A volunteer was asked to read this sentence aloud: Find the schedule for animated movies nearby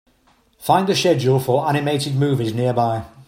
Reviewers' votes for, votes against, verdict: 2, 1, accepted